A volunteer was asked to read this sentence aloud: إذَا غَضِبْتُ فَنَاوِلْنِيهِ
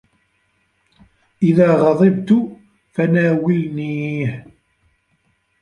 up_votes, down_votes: 1, 2